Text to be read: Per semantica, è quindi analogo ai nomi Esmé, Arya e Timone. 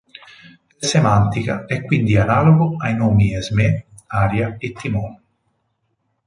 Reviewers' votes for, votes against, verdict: 0, 2, rejected